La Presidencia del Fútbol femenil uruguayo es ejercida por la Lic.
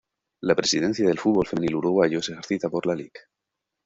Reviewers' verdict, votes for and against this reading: rejected, 0, 2